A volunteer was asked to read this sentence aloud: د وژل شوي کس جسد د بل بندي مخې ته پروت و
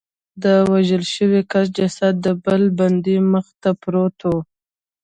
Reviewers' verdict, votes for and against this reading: rejected, 0, 2